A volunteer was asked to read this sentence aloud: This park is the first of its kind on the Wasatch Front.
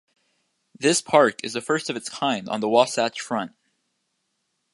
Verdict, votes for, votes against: accepted, 2, 0